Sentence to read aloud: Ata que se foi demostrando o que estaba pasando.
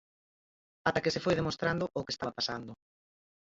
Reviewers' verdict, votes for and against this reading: rejected, 0, 4